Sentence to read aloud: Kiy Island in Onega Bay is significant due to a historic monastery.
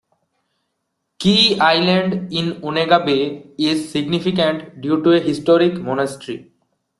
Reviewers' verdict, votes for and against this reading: rejected, 1, 2